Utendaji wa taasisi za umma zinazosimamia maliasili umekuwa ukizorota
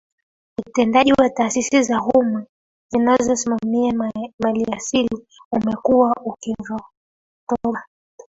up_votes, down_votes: 1, 3